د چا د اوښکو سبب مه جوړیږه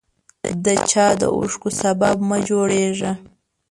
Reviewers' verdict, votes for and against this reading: rejected, 0, 2